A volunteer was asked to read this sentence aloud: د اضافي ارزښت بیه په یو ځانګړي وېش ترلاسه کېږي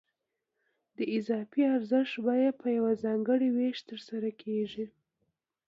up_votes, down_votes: 2, 0